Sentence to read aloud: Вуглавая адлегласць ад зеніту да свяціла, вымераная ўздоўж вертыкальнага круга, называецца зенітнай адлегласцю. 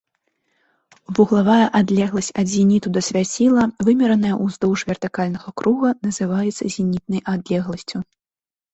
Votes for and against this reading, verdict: 2, 0, accepted